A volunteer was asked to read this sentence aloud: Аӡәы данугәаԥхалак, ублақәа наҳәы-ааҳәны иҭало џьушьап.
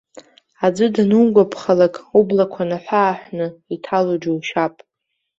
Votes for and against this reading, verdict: 2, 0, accepted